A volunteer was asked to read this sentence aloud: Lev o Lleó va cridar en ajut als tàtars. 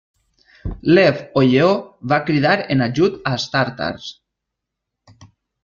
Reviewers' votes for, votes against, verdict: 2, 0, accepted